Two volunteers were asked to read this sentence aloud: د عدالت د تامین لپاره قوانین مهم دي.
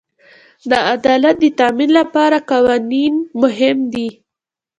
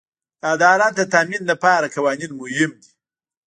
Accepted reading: first